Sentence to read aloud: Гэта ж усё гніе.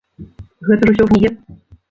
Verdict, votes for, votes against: rejected, 0, 2